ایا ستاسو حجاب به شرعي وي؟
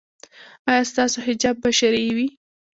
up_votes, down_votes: 0, 2